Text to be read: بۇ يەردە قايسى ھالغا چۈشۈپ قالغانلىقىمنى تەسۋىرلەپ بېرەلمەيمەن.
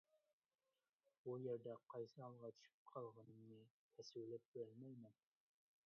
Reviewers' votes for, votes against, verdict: 0, 2, rejected